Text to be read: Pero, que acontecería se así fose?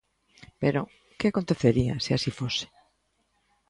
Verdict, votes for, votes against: accepted, 2, 0